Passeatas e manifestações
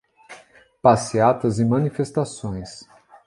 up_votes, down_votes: 2, 0